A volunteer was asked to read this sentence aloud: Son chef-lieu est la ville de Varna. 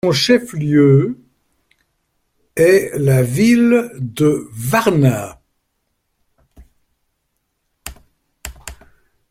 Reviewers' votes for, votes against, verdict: 0, 2, rejected